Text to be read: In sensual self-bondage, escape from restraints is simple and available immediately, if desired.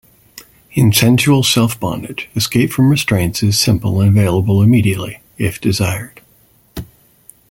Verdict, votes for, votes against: accepted, 2, 0